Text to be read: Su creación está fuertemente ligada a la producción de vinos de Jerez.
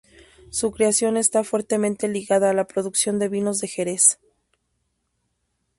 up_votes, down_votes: 2, 0